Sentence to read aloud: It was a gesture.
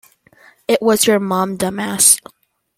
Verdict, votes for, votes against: rejected, 0, 2